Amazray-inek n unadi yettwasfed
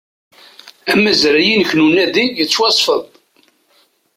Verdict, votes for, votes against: accepted, 2, 0